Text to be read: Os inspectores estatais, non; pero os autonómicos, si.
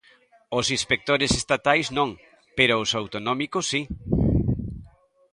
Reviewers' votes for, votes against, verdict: 2, 0, accepted